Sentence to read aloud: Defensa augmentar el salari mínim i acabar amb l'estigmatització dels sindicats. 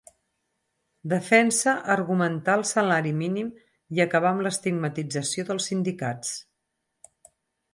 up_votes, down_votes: 0, 4